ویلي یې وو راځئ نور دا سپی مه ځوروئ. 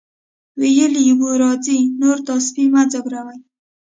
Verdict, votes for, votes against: accepted, 2, 0